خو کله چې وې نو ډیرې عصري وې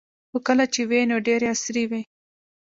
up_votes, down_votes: 2, 0